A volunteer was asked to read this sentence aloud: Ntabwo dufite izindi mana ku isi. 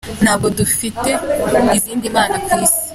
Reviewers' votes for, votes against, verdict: 2, 1, accepted